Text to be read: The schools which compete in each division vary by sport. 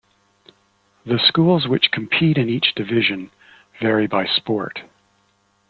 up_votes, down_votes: 2, 0